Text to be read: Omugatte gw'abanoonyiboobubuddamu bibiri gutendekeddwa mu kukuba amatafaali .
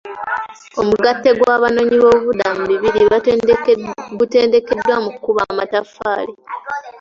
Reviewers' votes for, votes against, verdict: 2, 0, accepted